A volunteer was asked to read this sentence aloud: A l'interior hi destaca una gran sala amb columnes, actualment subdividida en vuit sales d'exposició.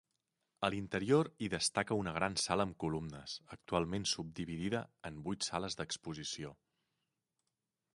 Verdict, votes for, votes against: accepted, 3, 0